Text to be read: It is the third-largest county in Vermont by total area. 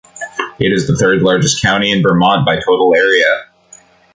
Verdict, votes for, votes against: accepted, 3, 1